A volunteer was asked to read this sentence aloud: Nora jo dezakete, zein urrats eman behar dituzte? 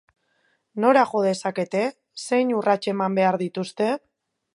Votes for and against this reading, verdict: 4, 0, accepted